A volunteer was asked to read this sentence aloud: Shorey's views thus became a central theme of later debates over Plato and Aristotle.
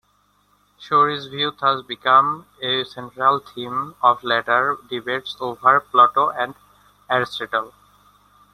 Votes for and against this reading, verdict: 2, 1, accepted